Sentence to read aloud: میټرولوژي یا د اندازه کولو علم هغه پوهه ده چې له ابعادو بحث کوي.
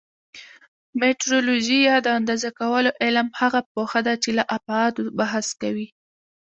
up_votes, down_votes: 2, 0